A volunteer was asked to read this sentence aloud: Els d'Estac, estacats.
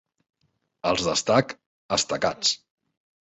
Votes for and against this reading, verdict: 2, 0, accepted